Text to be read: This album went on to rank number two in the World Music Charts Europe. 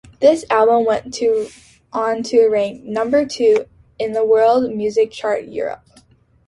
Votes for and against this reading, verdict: 0, 2, rejected